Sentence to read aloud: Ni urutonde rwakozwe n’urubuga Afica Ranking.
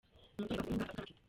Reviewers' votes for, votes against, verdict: 0, 2, rejected